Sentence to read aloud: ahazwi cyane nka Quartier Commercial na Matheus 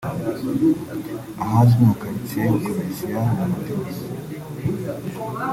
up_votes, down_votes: 0, 2